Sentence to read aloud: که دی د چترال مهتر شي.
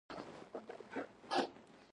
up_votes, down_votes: 0, 2